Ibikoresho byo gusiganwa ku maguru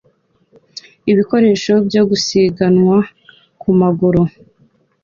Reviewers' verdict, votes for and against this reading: accepted, 2, 0